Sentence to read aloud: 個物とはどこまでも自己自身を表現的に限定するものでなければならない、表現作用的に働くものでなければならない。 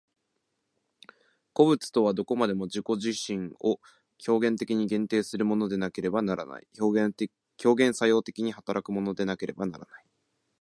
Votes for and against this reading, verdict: 1, 2, rejected